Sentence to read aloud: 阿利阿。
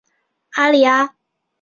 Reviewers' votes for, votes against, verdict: 2, 0, accepted